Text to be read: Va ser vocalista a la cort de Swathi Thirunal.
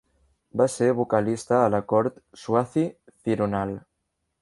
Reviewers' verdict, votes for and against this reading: rejected, 0, 2